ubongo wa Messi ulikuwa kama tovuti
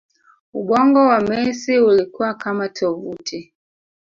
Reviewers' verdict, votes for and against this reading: accepted, 3, 0